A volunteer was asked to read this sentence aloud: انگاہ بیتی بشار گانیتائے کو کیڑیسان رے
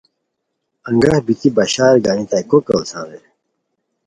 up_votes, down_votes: 2, 0